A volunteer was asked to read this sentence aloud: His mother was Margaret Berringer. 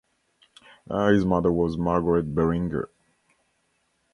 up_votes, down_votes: 0, 2